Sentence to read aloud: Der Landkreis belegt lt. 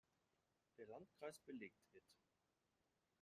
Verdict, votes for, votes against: rejected, 0, 2